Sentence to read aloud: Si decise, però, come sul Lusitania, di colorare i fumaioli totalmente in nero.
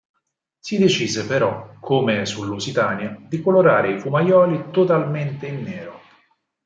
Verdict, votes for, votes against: accepted, 4, 0